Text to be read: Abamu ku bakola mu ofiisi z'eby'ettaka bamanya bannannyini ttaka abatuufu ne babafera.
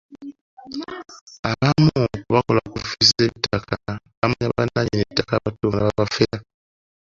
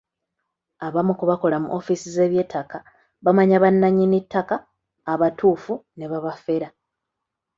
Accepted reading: second